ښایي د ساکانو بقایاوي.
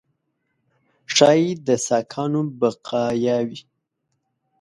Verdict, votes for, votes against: accepted, 2, 0